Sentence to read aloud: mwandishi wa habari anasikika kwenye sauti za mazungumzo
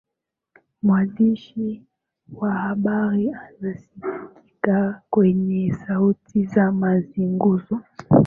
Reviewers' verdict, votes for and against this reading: accepted, 3, 2